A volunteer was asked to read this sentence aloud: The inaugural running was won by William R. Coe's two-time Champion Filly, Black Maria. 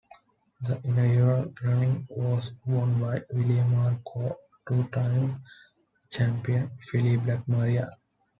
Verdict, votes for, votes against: rejected, 0, 2